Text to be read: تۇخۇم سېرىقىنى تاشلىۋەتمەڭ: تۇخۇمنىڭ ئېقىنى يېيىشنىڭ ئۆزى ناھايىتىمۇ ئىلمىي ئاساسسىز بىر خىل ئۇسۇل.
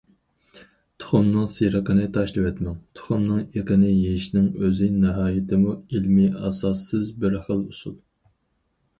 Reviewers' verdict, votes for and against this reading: rejected, 2, 4